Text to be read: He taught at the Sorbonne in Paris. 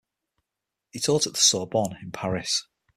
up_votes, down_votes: 0, 6